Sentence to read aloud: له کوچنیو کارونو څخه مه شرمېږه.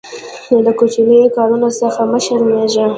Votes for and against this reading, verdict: 1, 2, rejected